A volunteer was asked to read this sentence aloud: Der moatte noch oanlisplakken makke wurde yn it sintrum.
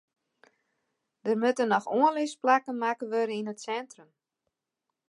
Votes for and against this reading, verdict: 2, 0, accepted